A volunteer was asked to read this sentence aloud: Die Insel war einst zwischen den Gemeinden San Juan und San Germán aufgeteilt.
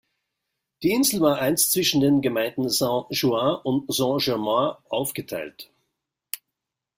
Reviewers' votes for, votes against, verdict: 1, 2, rejected